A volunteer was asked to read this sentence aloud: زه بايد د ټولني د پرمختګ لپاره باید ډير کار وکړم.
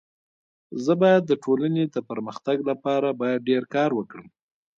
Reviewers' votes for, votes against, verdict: 2, 0, accepted